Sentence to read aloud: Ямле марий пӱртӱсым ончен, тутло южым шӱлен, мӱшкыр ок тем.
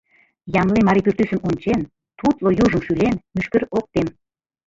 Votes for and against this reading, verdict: 2, 0, accepted